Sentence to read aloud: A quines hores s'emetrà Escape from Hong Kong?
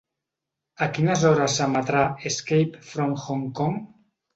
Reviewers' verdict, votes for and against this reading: accepted, 2, 0